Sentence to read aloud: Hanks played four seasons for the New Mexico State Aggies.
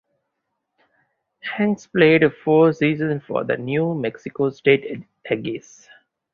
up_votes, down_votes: 4, 0